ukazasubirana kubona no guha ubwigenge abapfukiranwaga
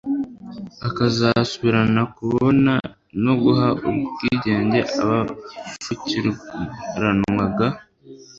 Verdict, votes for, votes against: rejected, 1, 2